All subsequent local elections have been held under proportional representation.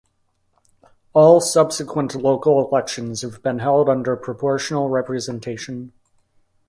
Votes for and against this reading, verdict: 2, 0, accepted